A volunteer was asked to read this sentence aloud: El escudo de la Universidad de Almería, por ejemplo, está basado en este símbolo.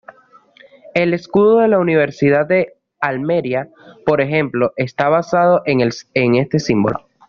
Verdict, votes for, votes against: rejected, 1, 2